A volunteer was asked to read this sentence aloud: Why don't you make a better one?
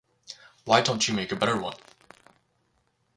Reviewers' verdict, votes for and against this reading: accepted, 4, 0